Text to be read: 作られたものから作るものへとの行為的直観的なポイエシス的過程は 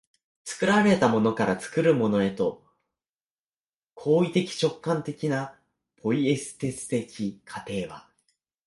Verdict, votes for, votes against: rejected, 4, 4